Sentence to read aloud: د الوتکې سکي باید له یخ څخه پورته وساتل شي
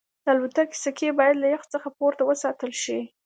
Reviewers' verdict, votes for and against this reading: accepted, 2, 0